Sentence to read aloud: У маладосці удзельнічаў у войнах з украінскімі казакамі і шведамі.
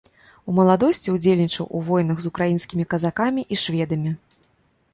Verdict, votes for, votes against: accepted, 2, 0